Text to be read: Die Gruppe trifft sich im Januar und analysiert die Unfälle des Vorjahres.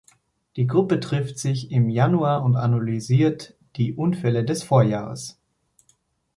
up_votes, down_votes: 2, 0